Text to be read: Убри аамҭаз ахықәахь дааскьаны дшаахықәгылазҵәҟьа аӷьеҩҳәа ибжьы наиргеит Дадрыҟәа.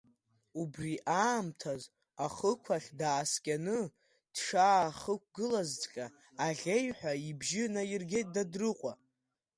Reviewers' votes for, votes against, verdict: 2, 0, accepted